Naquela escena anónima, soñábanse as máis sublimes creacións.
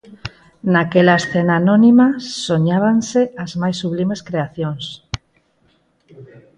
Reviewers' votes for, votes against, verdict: 2, 2, rejected